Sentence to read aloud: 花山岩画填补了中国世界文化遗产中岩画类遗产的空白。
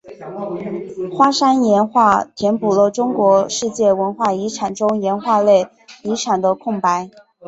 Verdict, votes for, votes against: accepted, 2, 1